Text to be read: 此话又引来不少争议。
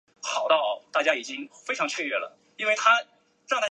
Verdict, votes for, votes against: rejected, 0, 2